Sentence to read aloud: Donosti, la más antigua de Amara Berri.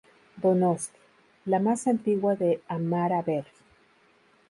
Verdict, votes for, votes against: accepted, 2, 0